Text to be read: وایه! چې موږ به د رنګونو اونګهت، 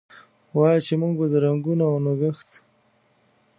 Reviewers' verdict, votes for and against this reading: accepted, 2, 1